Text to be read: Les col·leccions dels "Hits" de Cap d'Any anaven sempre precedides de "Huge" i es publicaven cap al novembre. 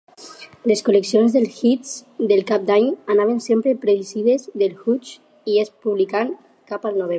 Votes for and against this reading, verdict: 0, 4, rejected